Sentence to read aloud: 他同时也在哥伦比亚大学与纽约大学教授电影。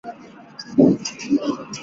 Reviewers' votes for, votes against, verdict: 2, 3, rejected